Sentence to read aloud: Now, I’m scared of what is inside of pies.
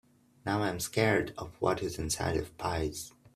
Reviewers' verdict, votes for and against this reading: accepted, 3, 0